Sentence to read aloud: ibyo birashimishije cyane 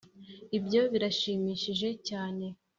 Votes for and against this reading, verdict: 2, 0, accepted